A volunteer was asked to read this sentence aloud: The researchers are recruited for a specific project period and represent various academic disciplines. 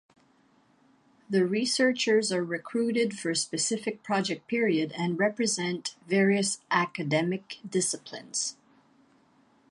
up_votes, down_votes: 1, 2